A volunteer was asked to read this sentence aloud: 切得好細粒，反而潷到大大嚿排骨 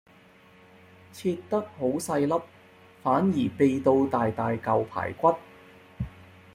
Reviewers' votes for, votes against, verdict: 0, 2, rejected